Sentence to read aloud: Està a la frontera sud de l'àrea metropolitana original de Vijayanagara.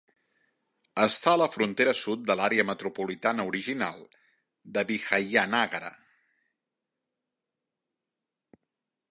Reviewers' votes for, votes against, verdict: 0, 2, rejected